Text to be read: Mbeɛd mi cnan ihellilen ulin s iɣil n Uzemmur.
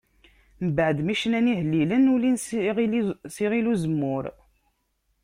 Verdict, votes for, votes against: rejected, 1, 2